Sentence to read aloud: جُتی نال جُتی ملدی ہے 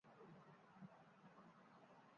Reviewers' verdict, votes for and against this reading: rejected, 0, 2